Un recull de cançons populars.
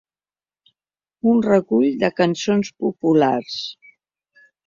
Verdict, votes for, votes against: accepted, 2, 0